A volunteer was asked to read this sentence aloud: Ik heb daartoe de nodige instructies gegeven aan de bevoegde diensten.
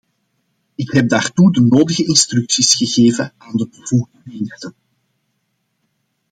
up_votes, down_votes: 0, 2